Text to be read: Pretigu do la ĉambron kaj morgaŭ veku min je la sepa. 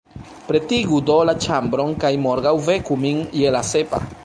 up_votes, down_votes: 1, 2